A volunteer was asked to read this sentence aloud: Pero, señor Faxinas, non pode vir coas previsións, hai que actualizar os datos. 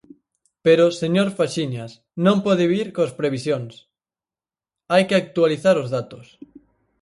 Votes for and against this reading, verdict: 0, 4, rejected